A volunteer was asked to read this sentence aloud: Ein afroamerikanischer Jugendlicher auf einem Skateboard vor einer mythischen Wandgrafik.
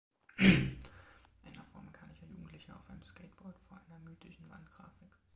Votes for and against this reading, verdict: 1, 2, rejected